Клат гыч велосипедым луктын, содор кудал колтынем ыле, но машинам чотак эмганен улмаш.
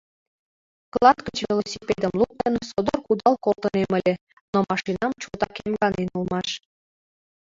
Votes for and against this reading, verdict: 2, 0, accepted